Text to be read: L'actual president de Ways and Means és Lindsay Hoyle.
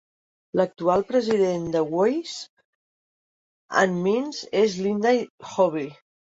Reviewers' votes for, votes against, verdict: 1, 2, rejected